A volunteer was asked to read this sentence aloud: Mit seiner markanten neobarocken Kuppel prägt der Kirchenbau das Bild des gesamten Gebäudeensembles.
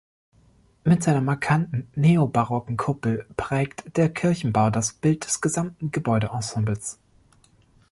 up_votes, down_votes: 3, 0